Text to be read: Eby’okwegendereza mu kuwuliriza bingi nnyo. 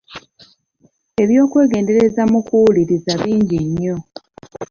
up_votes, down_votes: 2, 0